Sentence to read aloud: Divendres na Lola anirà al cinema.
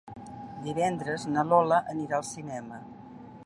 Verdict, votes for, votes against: accepted, 3, 0